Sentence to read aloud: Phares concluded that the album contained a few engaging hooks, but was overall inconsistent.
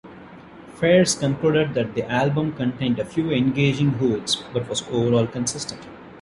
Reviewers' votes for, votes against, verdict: 0, 2, rejected